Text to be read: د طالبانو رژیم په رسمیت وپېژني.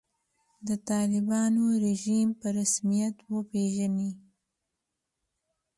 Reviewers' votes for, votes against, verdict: 2, 0, accepted